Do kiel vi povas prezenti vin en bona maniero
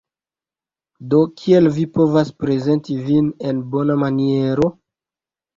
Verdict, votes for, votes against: rejected, 0, 2